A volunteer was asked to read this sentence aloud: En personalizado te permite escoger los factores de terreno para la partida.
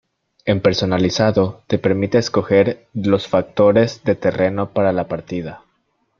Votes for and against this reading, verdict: 2, 0, accepted